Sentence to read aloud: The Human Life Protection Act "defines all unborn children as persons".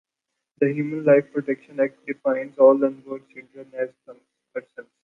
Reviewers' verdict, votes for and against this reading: accepted, 2, 1